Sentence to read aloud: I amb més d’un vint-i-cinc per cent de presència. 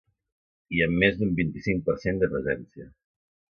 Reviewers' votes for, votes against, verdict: 2, 0, accepted